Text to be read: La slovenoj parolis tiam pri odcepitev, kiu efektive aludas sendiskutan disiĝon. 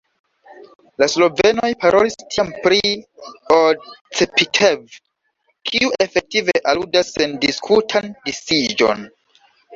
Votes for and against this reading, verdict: 0, 2, rejected